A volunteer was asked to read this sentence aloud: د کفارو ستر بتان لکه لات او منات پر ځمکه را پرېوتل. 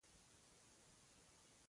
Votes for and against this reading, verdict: 2, 3, rejected